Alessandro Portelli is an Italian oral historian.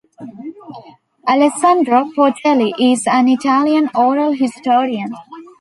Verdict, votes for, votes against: accepted, 2, 0